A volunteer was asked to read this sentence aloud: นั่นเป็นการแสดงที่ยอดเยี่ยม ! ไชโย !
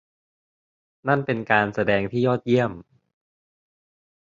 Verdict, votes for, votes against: rejected, 0, 2